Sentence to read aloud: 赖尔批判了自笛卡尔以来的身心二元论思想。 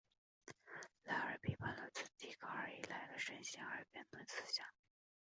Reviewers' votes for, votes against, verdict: 1, 2, rejected